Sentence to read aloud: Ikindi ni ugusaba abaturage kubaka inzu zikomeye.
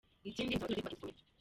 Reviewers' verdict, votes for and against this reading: rejected, 0, 2